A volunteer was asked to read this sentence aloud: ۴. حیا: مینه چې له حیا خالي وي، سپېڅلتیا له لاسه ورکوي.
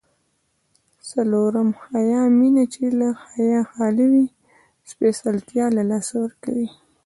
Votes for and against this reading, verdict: 0, 2, rejected